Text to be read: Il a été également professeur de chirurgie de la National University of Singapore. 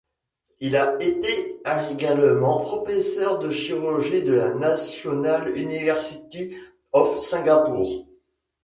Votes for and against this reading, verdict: 1, 2, rejected